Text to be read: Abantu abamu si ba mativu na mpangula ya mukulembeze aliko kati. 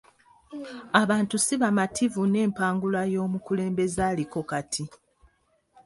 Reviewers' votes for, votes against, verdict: 2, 3, rejected